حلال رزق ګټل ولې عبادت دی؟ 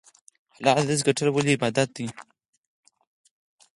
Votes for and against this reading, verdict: 2, 4, rejected